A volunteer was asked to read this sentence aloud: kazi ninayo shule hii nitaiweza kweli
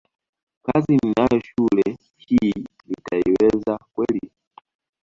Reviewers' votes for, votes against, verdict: 2, 1, accepted